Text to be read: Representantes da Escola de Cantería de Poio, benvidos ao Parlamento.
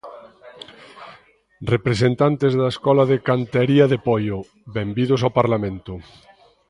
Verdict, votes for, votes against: accepted, 2, 1